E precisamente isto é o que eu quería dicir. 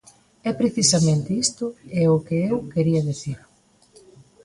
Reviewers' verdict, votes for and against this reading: accepted, 2, 0